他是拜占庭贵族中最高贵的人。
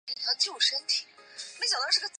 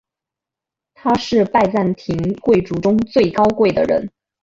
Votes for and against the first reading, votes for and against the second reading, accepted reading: 1, 3, 2, 0, second